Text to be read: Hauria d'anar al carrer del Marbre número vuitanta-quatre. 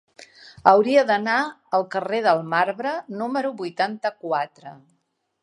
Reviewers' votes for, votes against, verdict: 3, 0, accepted